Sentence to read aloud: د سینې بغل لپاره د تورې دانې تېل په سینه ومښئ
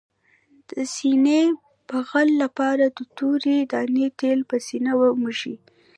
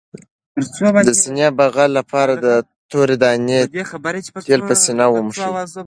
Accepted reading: second